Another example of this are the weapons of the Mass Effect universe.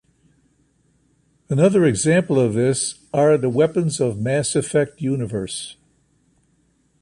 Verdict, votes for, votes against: accepted, 2, 0